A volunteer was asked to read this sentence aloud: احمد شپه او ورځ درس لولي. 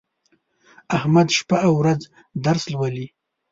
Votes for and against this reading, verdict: 2, 0, accepted